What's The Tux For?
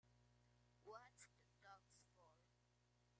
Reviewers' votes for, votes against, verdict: 0, 2, rejected